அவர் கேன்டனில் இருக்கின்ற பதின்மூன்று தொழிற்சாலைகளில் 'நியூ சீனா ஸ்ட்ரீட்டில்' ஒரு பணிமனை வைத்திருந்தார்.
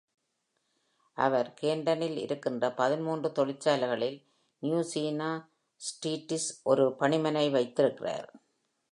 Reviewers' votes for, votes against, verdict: 0, 2, rejected